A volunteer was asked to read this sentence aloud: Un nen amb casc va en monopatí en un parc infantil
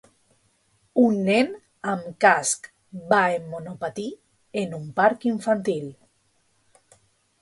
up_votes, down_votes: 2, 0